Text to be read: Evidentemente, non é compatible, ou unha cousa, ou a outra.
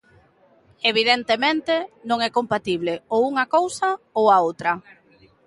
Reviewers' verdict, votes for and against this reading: accepted, 2, 0